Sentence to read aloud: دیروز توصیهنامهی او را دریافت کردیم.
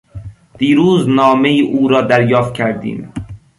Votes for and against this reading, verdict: 0, 2, rejected